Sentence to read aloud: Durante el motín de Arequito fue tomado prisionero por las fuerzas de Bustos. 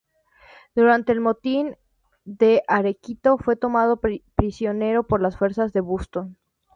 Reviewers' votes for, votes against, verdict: 0, 2, rejected